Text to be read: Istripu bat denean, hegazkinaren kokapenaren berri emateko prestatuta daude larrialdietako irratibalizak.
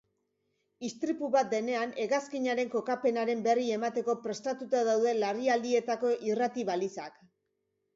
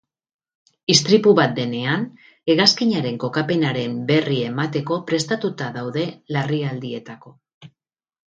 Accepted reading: first